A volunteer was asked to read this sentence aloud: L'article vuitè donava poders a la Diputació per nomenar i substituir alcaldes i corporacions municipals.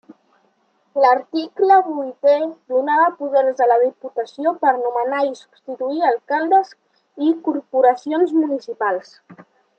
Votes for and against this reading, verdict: 2, 0, accepted